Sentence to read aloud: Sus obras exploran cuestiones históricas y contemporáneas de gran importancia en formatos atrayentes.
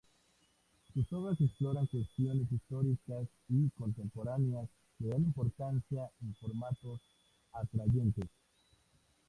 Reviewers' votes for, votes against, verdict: 2, 0, accepted